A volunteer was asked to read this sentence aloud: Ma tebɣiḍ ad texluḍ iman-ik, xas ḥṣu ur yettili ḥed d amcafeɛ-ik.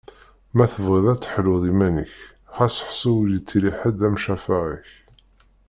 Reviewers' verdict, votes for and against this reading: rejected, 1, 2